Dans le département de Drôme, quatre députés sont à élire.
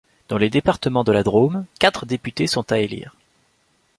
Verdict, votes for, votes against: rejected, 1, 2